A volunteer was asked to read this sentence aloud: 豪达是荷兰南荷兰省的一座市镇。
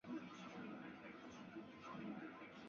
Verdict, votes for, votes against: rejected, 2, 7